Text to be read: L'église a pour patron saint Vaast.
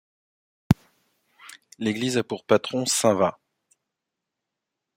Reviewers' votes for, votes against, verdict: 1, 2, rejected